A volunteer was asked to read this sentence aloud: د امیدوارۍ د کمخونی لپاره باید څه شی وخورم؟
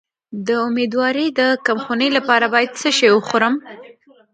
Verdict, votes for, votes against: rejected, 0, 2